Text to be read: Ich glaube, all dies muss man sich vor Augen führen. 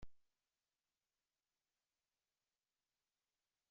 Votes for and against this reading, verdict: 0, 2, rejected